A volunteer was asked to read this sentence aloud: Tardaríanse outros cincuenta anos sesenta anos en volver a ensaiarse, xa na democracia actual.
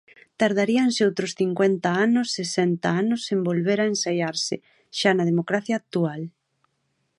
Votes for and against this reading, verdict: 2, 0, accepted